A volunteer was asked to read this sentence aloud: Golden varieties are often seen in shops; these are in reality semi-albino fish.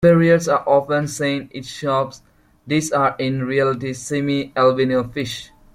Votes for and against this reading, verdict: 0, 2, rejected